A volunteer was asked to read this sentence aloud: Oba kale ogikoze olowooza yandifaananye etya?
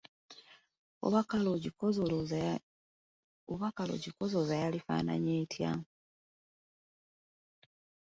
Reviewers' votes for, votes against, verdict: 0, 2, rejected